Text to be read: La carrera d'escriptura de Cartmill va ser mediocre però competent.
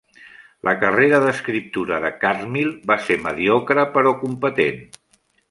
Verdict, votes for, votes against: accepted, 2, 0